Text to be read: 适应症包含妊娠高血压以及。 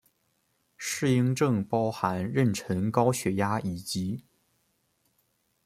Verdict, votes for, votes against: rejected, 0, 2